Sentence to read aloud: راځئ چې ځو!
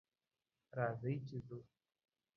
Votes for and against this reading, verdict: 2, 0, accepted